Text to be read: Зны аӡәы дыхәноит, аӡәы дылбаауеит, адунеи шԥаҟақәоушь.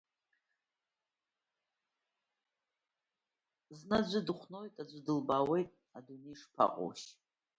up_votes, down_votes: 0, 2